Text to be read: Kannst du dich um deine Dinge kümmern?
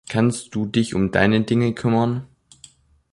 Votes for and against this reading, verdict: 3, 0, accepted